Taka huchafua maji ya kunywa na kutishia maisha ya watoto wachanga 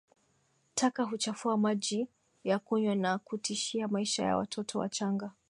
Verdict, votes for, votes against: accepted, 6, 2